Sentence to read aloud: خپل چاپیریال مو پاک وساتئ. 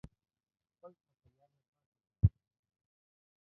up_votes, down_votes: 0, 2